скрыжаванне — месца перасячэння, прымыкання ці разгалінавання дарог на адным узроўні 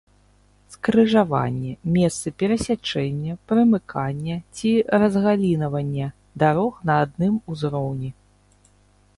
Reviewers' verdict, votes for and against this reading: rejected, 0, 2